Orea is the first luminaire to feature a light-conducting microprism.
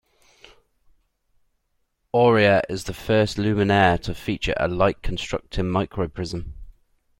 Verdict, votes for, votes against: rejected, 0, 2